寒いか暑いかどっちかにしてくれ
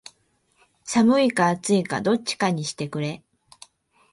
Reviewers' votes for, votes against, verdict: 2, 2, rejected